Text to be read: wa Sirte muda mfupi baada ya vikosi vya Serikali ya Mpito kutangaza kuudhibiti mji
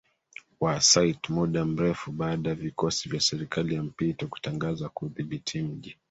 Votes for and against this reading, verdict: 1, 2, rejected